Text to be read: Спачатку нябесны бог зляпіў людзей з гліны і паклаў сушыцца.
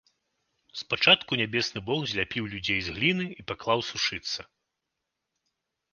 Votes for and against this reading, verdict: 2, 0, accepted